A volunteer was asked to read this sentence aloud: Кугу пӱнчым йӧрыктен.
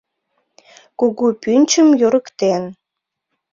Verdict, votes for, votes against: accepted, 2, 0